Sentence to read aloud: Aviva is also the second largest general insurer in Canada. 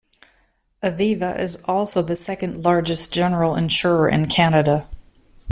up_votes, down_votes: 2, 0